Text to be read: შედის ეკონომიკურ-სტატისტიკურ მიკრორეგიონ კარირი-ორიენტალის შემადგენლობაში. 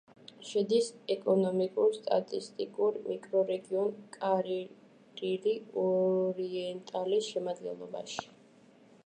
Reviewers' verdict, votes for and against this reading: rejected, 1, 2